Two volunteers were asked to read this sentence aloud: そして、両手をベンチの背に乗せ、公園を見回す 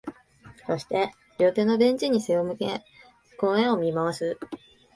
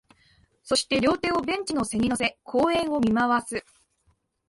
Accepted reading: second